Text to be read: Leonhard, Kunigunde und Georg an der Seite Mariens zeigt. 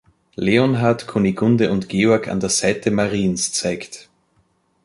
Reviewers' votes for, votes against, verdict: 2, 0, accepted